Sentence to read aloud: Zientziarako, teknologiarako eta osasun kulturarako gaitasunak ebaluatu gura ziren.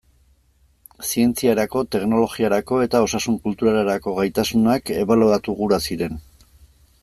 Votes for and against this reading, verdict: 1, 2, rejected